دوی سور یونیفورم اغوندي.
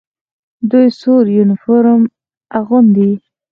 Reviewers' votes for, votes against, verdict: 4, 0, accepted